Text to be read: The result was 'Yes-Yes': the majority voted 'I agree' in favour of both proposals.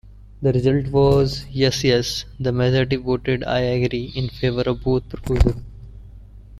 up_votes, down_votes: 1, 2